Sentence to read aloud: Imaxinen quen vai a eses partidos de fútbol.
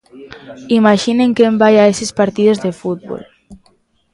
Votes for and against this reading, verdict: 2, 0, accepted